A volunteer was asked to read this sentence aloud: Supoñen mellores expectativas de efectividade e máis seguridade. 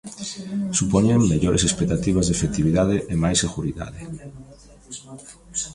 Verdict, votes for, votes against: accepted, 2, 1